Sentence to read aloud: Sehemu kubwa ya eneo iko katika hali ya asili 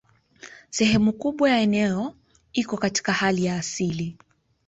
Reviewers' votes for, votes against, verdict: 0, 2, rejected